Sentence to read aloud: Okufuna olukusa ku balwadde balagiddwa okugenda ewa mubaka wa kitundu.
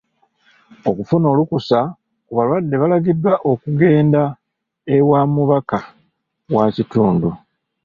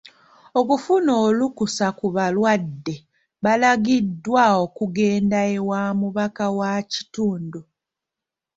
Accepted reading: second